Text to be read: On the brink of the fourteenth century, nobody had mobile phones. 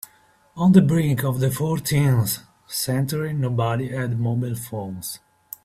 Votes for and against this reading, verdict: 2, 0, accepted